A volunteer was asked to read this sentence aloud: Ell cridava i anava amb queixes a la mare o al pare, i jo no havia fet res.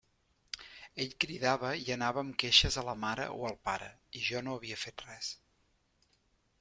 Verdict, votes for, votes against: accepted, 3, 0